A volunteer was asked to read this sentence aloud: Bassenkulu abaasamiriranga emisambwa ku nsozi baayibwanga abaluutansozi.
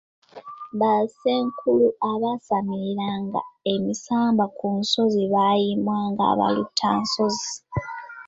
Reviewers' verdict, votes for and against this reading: accepted, 2, 1